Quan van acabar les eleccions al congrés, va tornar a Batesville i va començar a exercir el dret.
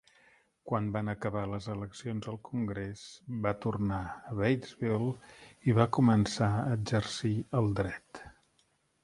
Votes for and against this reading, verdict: 3, 0, accepted